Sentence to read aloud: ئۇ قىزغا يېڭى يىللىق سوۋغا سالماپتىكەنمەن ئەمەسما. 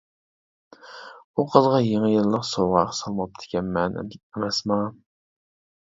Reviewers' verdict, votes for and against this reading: rejected, 0, 2